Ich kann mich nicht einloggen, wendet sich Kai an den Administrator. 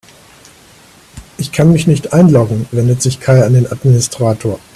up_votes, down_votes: 2, 0